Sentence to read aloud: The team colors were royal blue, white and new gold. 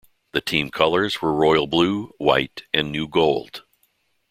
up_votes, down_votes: 2, 0